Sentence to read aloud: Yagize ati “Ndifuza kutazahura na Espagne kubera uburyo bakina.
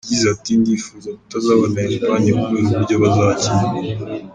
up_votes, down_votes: 1, 2